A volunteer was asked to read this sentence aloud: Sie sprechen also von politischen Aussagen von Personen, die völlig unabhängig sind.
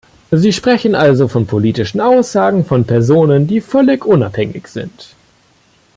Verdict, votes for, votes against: rejected, 1, 2